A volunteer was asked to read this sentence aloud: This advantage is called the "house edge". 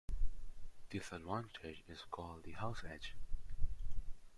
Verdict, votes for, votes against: accepted, 2, 0